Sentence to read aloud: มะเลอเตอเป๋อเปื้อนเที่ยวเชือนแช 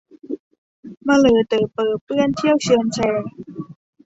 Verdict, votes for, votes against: rejected, 0, 2